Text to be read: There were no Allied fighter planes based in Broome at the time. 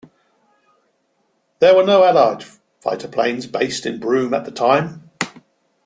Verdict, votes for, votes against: accepted, 2, 0